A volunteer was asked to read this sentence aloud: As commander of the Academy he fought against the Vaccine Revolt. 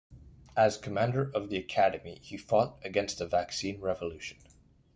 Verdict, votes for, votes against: rejected, 1, 2